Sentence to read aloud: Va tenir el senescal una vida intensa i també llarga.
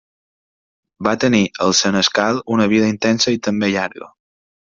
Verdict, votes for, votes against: accepted, 2, 0